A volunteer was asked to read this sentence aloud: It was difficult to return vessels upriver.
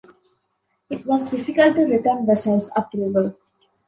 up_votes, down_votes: 2, 0